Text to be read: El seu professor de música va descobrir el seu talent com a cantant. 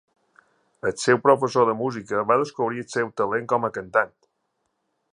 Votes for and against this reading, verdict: 2, 0, accepted